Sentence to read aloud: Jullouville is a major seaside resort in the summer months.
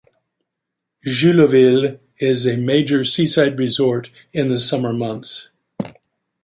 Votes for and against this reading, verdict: 2, 0, accepted